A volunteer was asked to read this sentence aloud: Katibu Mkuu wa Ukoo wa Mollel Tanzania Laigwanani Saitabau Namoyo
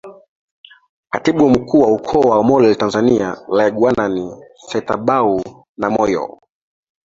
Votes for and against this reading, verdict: 2, 3, rejected